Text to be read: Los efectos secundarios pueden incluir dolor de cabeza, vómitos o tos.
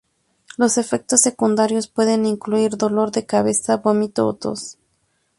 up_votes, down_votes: 2, 0